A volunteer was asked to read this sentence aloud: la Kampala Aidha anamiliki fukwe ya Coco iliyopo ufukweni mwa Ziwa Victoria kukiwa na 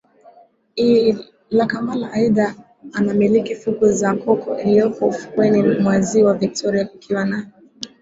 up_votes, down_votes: 2, 0